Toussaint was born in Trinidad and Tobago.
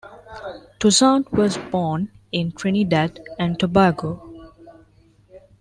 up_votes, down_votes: 2, 0